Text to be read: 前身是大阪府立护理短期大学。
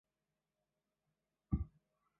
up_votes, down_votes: 1, 2